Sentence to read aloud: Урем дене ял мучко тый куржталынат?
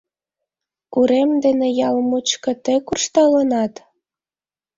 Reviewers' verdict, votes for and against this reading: accepted, 2, 0